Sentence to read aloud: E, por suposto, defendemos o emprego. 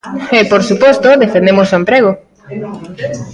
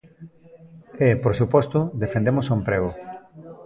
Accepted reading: second